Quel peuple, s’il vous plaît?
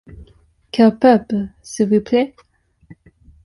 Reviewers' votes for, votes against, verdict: 2, 0, accepted